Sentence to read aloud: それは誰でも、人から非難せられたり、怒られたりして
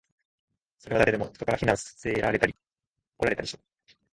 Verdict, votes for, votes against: rejected, 0, 2